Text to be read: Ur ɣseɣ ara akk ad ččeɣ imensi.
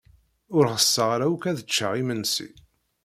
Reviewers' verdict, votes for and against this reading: accepted, 2, 0